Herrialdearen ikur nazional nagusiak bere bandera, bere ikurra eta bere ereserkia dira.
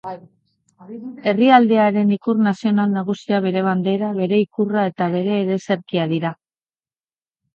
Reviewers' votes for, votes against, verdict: 3, 1, accepted